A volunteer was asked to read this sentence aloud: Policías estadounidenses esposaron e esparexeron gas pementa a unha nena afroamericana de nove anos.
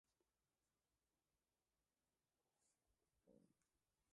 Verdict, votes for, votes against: rejected, 0, 2